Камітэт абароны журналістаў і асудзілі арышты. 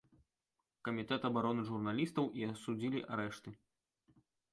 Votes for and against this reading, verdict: 0, 2, rejected